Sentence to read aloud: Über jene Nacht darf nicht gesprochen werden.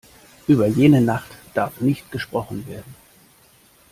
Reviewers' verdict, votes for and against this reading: accepted, 2, 0